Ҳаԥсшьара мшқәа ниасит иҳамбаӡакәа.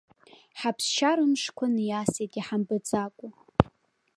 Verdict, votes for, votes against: accepted, 3, 1